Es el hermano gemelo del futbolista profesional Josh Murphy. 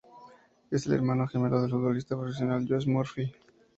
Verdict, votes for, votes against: accepted, 2, 0